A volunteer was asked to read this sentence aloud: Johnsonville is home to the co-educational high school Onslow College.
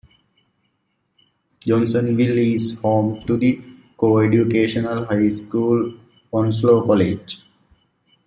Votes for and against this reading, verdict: 2, 1, accepted